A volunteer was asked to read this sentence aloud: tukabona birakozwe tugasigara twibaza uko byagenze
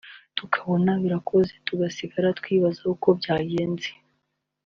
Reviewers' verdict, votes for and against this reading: accepted, 2, 0